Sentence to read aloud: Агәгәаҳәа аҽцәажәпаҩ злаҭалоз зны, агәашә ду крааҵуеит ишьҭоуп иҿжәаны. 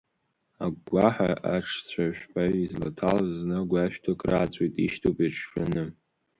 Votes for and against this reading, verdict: 1, 2, rejected